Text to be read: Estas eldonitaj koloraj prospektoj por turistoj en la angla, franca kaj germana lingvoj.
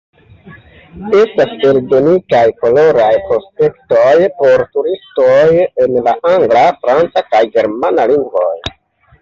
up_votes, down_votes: 1, 2